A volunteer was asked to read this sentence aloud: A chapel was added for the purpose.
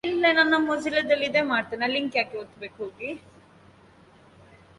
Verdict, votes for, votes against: rejected, 0, 2